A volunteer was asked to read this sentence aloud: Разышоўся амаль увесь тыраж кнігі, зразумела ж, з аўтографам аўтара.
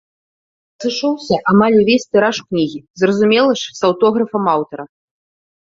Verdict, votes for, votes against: rejected, 1, 2